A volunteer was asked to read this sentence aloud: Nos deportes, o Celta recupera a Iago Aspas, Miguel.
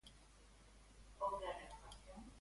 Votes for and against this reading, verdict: 0, 2, rejected